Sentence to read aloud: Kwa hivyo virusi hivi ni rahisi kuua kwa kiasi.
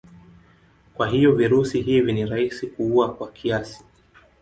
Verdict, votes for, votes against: accepted, 3, 0